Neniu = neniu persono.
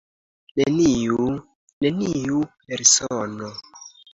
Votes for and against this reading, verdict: 2, 0, accepted